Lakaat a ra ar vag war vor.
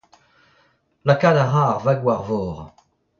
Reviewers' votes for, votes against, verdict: 2, 1, accepted